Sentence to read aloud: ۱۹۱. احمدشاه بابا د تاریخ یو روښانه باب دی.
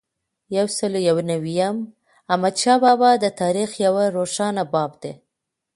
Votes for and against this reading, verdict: 0, 2, rejected